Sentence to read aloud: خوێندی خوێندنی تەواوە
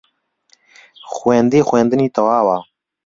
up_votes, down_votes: 2, 0